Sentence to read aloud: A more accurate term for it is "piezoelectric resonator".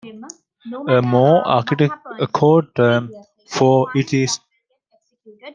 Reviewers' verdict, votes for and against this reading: rejected, 0, 2